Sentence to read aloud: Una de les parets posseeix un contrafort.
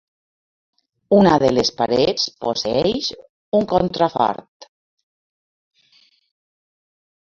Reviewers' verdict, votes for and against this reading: accepted, 2, 1